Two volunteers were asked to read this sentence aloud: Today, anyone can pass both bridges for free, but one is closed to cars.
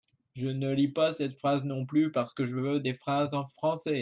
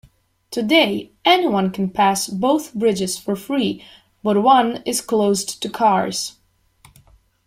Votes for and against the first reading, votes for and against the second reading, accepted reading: 0, 2, 2, 0, second